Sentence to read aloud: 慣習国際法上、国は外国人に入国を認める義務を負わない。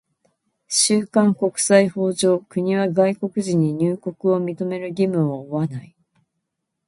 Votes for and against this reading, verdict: 0, 2, rejected